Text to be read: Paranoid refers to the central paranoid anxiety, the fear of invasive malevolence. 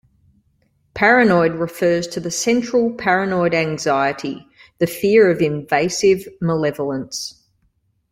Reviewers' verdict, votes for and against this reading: accepted, 2, 0